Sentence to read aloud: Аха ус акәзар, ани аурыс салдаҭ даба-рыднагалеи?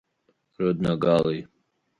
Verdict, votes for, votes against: rejected, 0, 3